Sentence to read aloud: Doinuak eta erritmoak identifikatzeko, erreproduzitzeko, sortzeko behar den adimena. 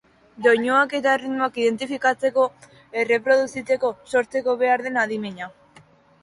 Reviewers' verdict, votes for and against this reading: rejected, 0, 2